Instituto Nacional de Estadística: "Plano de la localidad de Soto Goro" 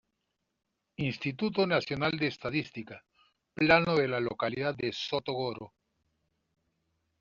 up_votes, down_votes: 2, 0